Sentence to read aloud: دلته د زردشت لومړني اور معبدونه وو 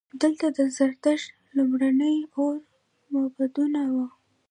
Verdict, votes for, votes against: rejected, 0, 2